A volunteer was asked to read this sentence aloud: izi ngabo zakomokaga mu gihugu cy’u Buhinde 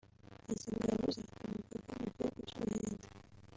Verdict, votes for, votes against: rejected, 0, 2